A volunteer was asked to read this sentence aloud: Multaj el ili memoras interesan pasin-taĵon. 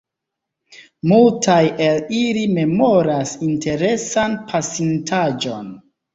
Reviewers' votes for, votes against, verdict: 2, 1, accepted